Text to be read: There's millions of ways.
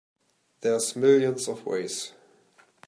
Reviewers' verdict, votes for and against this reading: accepted, 2, 0